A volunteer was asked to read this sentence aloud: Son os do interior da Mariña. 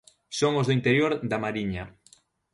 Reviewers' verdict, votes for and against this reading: accepted, 2, 0